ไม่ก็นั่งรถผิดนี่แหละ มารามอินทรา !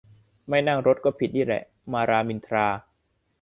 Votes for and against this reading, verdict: 0, 2, rejected